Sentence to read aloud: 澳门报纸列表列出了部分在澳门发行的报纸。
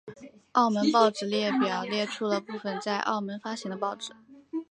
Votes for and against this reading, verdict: 2, 1, accepted